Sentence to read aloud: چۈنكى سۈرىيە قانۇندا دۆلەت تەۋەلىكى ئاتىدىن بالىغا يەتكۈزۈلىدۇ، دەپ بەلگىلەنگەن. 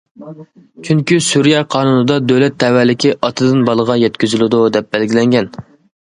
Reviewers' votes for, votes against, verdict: 2, 0, accepted